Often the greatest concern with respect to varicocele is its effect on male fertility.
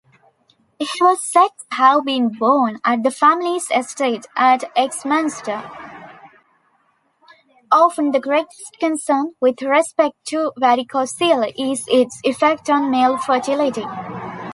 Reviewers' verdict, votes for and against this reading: rejected, 0, 2